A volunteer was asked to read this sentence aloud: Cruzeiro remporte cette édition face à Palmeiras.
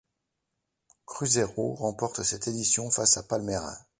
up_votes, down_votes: 2, 0